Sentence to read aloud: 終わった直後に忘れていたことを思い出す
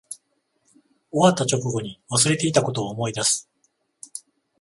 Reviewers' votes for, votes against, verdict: 14, 0, accepted